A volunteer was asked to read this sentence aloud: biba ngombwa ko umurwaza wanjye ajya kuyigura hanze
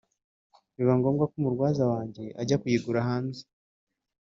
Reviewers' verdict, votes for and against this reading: accepted, 2, 0